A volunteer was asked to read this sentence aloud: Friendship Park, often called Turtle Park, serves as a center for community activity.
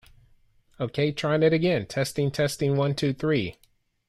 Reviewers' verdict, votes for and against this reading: rejected, 0, 2